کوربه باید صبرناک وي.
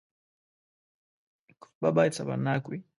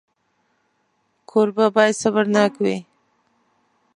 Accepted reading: second